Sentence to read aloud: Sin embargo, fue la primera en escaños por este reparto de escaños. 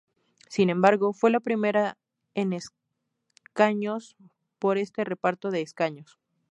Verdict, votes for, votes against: rejected, 2, 2